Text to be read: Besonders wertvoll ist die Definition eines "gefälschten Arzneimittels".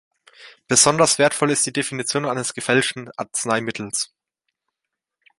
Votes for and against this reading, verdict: 2, 0, accepted